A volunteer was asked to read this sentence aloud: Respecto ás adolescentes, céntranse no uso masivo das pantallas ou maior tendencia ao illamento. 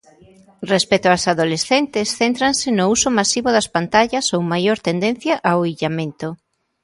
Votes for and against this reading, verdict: 2, 0, accepted